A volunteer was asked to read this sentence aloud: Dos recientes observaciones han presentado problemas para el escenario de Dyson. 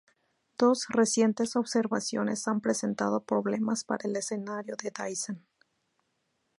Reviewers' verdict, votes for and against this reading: accepted, 2, 0